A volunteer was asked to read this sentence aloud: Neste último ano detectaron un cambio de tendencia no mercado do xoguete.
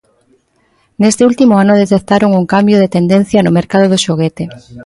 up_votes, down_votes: 1, 2